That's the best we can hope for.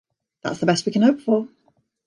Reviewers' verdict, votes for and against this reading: accepted, 2, 0